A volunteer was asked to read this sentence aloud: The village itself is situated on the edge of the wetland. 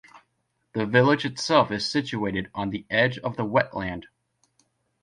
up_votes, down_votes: 2, 0